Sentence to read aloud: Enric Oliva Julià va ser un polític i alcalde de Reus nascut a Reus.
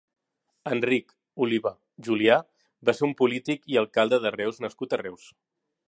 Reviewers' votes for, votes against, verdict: 2, 0, accepted